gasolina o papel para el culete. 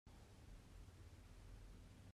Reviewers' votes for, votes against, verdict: 0, 2, rejected